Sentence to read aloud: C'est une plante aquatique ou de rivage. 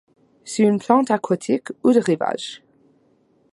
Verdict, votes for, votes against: accepted, 2, 0